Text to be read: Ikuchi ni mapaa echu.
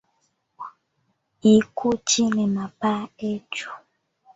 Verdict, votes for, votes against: rejected, 1, 2